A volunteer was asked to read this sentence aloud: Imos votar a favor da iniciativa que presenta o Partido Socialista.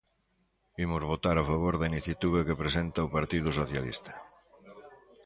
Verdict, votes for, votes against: rejected, 0, 2